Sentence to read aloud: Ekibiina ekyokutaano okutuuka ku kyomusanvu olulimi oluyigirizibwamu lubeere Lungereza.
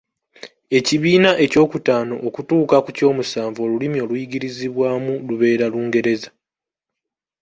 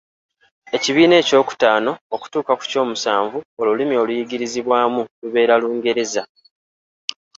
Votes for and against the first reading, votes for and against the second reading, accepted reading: 0, 2, 2, 0, second